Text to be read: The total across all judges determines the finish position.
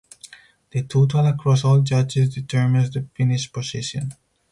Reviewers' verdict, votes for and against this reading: rejected, 0, 2